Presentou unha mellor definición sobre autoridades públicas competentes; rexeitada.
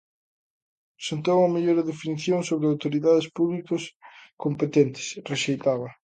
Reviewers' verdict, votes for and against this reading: rejected, 0, 2